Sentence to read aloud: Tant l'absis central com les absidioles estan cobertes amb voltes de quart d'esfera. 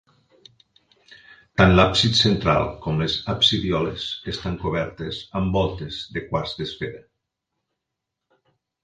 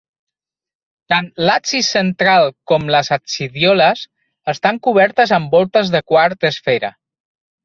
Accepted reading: second